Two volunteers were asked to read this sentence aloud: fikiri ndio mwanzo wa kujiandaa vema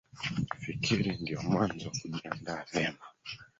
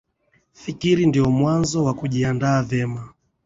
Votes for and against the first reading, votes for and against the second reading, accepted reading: 0, 4, 4, 0, second